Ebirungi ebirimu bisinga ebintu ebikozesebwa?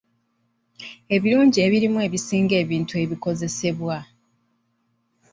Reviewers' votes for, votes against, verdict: 1, 2, rejected